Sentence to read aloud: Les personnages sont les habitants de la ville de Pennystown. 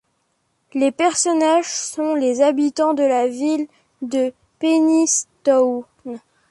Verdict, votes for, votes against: rejected, 1, 2